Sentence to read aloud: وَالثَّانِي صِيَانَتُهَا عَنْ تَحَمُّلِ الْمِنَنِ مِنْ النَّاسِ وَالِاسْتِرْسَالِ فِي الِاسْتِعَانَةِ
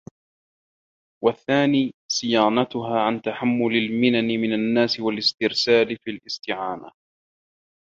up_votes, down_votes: 0, 2